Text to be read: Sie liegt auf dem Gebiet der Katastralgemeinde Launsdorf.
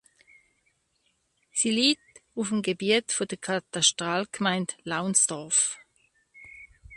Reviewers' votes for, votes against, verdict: 2, 1, accepted